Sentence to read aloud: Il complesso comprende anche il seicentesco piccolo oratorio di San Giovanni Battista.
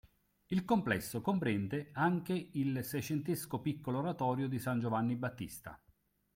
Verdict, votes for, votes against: accepted, 2, 0